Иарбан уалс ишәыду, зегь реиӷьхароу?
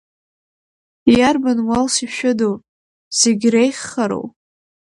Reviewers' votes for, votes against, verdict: 2, 0, accepted